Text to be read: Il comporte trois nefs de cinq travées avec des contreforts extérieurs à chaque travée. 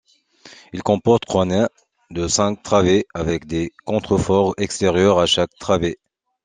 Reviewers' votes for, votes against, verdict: 2, 1, accepted